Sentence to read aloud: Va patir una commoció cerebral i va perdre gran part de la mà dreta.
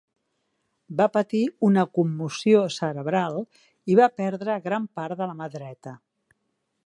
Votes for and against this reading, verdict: 2, 0, accepted